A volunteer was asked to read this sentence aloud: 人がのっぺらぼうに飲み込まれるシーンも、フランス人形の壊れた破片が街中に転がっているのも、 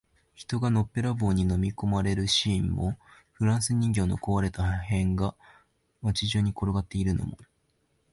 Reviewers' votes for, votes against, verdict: 1, 2, rejected